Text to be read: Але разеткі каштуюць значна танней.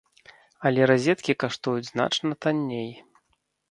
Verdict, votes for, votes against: accepted, 2, 0